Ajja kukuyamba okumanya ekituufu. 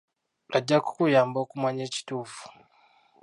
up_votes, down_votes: 0, 2